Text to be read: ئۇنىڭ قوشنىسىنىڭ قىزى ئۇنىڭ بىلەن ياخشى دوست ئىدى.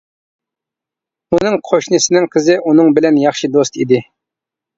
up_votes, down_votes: 2, 0